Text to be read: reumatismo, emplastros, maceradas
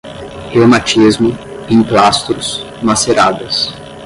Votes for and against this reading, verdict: 0, 5, rejected